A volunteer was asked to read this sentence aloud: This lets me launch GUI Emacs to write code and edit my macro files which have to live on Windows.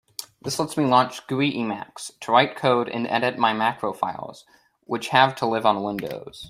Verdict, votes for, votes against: accepted, 2, 0